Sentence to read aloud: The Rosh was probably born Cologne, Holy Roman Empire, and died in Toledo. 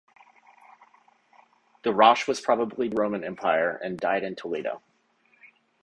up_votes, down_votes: 0, 2